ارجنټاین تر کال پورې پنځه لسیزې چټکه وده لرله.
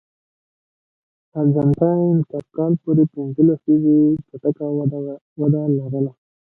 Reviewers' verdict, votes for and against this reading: rejected, 1, 2